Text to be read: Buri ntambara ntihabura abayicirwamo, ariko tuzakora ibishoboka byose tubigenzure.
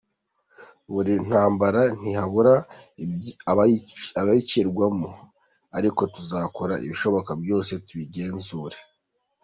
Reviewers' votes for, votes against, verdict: 0, 2, rejected